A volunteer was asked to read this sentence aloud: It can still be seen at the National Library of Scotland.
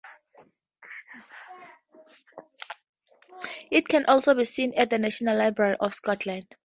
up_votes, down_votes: 0, 2